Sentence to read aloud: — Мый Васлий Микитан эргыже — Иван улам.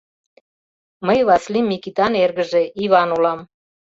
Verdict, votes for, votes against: accepted, 2, 0